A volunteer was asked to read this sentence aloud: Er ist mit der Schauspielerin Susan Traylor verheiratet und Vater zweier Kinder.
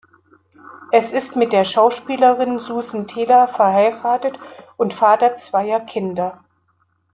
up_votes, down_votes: 0, 2